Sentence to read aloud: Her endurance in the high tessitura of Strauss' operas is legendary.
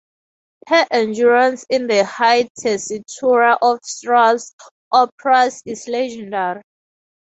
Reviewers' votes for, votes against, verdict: 0, 2, rejected